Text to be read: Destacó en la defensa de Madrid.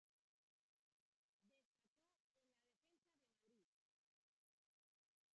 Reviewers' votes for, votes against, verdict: 0, 2, rejected